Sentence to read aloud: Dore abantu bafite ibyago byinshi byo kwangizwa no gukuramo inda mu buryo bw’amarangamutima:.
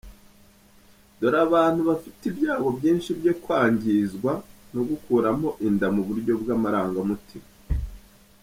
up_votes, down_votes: 0, 2